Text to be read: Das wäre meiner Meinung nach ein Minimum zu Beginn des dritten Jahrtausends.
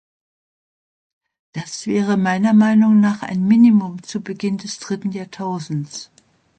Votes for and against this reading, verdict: 2, 0, accepted